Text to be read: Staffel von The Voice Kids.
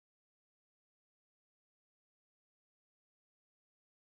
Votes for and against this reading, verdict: 0, 4, rejected